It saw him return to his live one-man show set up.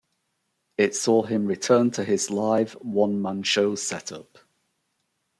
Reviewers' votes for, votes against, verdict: 2, 0, accepted